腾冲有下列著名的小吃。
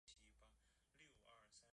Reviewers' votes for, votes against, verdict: 1, 2, rejected